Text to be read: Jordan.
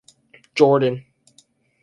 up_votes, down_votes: 2, 2